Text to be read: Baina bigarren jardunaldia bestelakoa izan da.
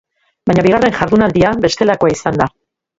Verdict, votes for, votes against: rejected, 1, 2